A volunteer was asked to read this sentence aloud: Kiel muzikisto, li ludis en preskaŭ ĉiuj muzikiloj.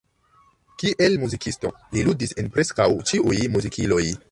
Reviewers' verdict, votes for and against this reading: accepted, 2, 0